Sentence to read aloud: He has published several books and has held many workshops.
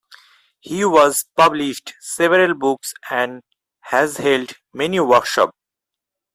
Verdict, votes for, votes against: rejected, 0, 4